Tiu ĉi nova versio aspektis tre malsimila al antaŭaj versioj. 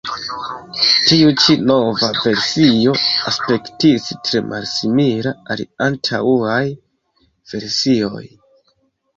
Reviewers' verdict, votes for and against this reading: accepted, 2, 0